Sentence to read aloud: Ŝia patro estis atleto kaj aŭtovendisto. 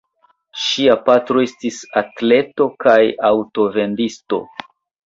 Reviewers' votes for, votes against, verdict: 2, 1, accepted